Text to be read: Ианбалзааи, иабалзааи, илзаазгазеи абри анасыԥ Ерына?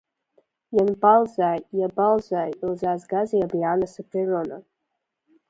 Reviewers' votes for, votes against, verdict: 0, 2, rejected